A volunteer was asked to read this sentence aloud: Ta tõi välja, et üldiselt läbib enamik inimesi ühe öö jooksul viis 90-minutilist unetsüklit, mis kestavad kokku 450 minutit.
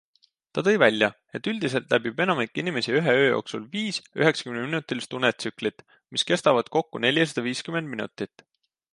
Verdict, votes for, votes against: rejected, 0, 2